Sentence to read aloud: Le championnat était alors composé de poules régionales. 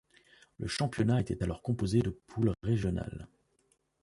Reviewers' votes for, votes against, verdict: 1, 2, rejected